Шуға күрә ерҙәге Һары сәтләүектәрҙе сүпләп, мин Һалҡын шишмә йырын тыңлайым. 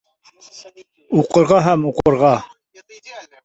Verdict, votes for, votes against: rejected, 0, 2